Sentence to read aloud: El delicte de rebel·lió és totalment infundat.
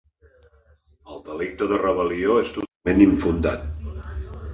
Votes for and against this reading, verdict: 1, 2, rejected